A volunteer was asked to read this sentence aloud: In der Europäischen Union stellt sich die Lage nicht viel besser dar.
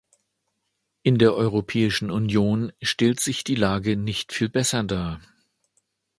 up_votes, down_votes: 2, 0